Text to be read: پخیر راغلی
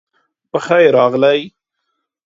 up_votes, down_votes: 2, 0